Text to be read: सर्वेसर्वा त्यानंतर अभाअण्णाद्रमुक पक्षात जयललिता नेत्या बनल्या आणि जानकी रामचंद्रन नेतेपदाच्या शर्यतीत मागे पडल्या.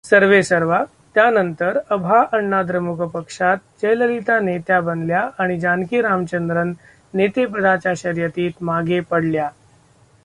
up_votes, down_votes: 0, 2